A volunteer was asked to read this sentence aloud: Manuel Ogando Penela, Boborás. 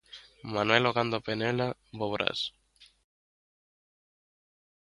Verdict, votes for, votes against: accepted, 2, 0